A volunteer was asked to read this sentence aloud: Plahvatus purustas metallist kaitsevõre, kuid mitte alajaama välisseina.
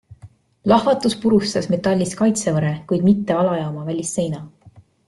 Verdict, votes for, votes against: accepted, 2, 0